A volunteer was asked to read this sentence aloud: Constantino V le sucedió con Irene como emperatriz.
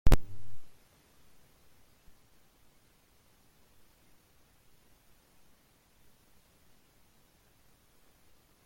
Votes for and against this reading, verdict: 0, 2, rejected